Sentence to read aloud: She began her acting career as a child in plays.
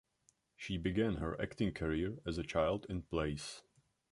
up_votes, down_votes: 1, 2